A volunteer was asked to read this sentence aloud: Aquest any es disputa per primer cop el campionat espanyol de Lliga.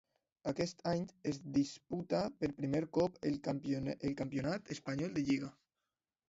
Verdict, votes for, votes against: rejected, 1, 2